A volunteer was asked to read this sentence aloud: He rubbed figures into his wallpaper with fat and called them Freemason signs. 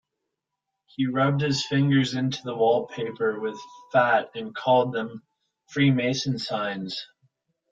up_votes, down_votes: 0, 3